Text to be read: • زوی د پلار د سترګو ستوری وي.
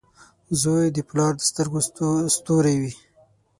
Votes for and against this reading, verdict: 3, 6, rejected